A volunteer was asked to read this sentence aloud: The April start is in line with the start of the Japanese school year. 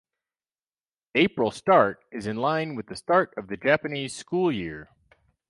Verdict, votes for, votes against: rejected, 2, 4